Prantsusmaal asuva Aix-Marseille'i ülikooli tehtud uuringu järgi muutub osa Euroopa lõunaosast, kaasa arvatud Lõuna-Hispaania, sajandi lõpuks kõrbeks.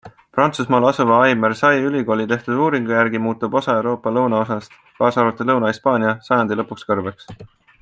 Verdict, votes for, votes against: accepted, 2, 0